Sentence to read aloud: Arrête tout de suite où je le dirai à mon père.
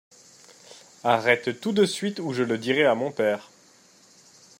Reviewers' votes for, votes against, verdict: 2, 0, accepted